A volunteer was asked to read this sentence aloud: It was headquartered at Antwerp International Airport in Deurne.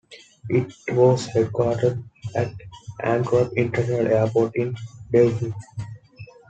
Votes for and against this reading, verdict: 2, 1, accepted